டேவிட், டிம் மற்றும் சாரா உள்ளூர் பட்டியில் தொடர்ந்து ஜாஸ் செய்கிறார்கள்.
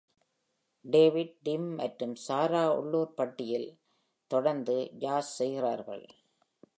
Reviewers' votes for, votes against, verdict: 2, 0, accepted